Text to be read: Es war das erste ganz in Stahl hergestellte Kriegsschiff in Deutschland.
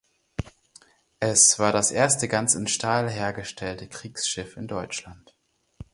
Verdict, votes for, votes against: accepted, 4, 0